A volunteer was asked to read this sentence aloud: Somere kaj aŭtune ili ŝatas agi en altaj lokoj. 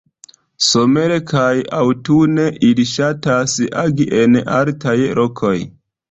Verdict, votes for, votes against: rejected, 1, 2